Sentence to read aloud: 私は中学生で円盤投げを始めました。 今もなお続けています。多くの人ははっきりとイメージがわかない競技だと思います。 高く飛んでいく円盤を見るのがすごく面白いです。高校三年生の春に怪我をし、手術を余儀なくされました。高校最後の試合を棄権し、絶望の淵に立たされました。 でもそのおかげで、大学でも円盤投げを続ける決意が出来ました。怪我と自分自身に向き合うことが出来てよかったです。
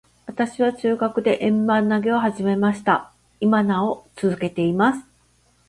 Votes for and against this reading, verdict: 1, 2, rejected